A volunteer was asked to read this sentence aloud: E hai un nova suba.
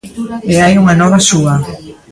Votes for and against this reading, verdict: 0, 2, rejected